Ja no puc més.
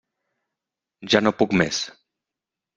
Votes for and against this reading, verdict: 3, 0, accepted